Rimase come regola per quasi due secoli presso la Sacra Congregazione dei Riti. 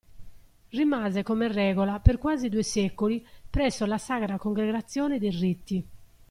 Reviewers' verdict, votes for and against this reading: rejected, 1, 2